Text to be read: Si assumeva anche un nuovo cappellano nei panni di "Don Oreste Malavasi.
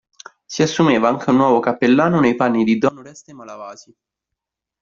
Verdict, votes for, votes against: accepted, 2, 1